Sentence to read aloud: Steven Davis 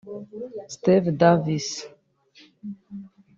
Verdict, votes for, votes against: rejected, 0, 2